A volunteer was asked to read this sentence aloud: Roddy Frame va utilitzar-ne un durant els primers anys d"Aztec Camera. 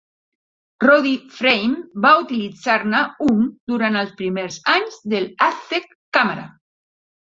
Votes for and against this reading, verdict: 2, 1, accepted